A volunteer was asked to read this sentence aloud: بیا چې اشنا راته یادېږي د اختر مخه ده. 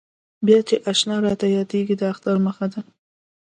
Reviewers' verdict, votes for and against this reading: accepted, 2, 0